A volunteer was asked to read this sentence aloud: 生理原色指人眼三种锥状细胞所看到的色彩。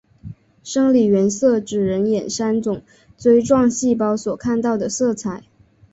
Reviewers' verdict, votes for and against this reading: accepted, 2, 1